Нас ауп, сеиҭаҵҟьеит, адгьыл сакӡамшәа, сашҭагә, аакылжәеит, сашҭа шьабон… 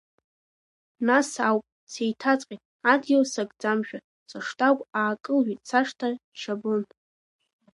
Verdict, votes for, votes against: rejected, 0, 2